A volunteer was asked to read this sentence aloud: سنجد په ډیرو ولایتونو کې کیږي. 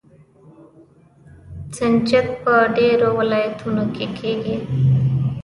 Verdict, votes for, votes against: rejected, 1, 2